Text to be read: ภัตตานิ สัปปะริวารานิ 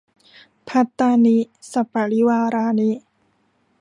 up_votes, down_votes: 1, 2